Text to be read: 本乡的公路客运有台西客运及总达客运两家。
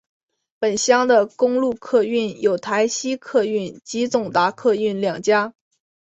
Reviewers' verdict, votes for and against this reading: accepted, 5, 0